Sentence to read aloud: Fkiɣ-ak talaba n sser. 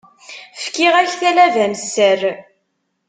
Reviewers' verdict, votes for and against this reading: accepted, 3, 0